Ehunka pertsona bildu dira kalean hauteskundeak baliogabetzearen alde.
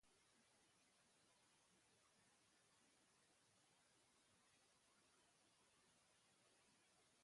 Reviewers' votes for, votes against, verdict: 0, 4, rejected